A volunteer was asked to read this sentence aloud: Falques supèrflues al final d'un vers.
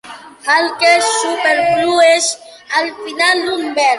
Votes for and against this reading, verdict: 0, 2, rejected